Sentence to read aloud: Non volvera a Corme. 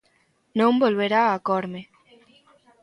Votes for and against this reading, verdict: 0, 2, rejected